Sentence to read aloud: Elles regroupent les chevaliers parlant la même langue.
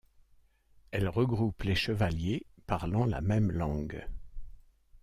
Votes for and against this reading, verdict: 2, 0, accepted